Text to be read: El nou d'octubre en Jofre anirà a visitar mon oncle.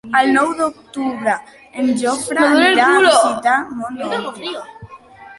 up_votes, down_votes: 0, 2